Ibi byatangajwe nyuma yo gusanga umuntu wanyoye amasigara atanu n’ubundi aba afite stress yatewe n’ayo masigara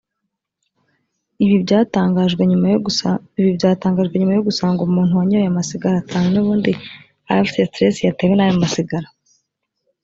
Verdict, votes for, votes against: rejected, 0, 2